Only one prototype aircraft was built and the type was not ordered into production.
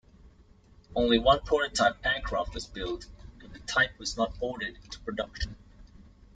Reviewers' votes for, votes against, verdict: 1, 2, rejected